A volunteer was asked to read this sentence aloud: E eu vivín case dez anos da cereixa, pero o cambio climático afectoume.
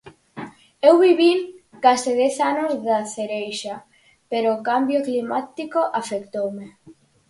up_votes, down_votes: 4, 2